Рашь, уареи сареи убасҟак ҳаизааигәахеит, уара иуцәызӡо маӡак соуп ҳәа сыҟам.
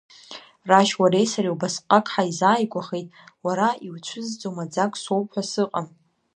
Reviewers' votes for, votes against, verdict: 3, 0, accepted